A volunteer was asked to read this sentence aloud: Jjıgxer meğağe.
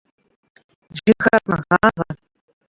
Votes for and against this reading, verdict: 1, 2, rejected